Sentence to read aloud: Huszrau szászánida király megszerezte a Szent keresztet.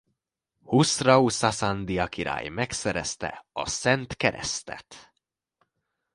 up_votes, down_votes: 1, 2